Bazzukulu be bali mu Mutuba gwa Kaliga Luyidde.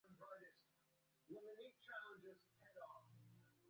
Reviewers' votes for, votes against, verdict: 0, 2, rejected